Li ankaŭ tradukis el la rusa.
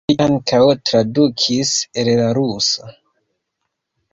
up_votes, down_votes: 2, 0